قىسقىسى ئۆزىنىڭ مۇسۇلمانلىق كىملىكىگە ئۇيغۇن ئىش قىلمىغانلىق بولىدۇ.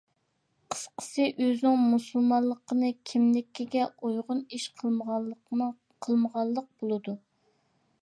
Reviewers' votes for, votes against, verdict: 0, 3, rejected